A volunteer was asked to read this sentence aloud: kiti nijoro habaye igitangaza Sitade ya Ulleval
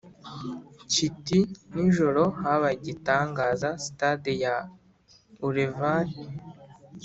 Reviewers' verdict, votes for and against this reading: accepted, 2, 0